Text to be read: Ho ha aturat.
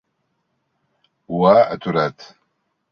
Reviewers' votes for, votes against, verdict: 3, 0, accepted